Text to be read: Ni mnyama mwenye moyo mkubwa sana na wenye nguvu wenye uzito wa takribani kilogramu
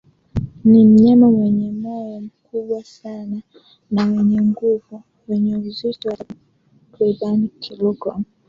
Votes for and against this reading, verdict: 0, 2, rejected